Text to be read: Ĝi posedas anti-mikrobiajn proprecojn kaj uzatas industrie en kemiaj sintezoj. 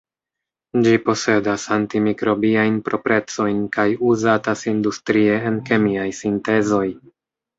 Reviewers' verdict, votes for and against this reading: rejected, 0, 2